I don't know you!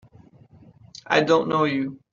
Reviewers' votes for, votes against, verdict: 2, 0, accepted